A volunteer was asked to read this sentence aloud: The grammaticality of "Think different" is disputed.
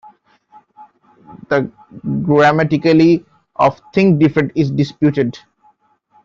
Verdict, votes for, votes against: rejected, 0, 2